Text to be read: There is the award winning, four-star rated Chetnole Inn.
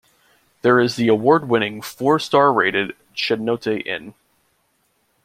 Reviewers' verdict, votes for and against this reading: rejected, 0, 2